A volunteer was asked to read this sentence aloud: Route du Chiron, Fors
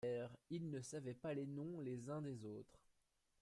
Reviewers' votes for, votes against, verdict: 0, 2, rejected